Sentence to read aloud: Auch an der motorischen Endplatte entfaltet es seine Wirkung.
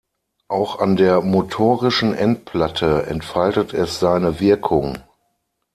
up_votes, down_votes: 6, 0